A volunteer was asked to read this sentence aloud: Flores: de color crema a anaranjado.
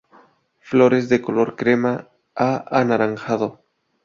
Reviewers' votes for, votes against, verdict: 2, 0, accepted